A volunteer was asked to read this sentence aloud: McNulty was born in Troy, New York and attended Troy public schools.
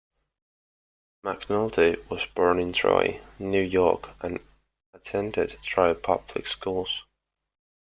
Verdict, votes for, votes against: accepted, 2, 0